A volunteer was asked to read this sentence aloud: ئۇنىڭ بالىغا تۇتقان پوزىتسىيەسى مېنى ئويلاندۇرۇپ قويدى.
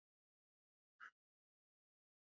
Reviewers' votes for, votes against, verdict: 0, 2, rejected